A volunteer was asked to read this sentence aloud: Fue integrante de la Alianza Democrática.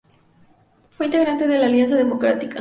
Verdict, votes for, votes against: accepted, 2, 0